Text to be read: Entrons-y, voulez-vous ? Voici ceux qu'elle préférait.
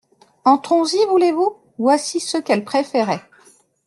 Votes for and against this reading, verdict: 2, 0, accepted